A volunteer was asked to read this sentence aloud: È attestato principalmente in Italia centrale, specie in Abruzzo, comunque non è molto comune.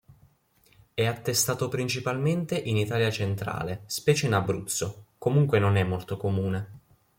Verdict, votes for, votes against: accepted, 2, 0